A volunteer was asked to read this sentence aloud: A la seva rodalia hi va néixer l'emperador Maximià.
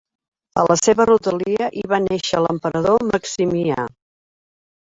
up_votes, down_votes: 1, 2